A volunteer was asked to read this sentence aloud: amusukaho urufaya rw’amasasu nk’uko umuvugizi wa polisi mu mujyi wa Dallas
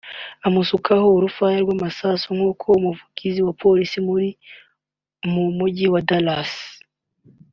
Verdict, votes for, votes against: rejected, 1, 2